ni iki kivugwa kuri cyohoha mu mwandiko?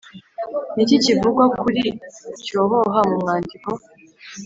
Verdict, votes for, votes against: accepted, 2, 0